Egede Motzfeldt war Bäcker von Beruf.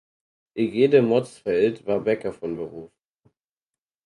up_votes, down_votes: 4, 0